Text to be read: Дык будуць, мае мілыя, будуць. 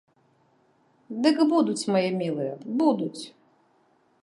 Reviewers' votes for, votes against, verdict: 2, 0, accepted